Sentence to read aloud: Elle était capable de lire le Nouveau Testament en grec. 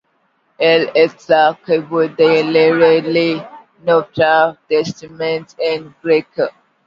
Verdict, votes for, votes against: rejected, 0, 2